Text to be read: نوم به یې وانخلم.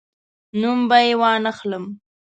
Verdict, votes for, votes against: accepted, 2, 0